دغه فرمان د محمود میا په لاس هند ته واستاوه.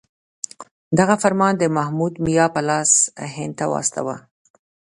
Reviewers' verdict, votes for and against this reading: accepted, 2, 0